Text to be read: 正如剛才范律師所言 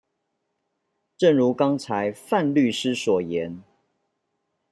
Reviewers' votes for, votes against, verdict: 2, 0, accepted